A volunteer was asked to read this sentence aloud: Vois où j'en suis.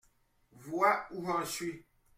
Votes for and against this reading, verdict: 2, 0, accepted